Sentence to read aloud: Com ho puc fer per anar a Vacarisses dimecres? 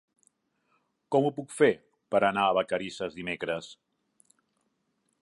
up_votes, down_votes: 2, 0